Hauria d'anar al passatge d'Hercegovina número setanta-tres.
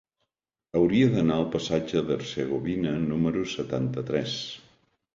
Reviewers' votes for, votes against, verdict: 3, 0, accepted